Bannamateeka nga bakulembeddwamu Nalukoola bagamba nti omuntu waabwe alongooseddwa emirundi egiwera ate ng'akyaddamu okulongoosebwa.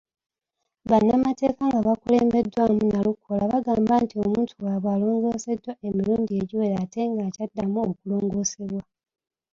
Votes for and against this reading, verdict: 2, 0, accepted